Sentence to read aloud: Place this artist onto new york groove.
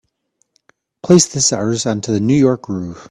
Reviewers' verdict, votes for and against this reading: rejected, 1, 3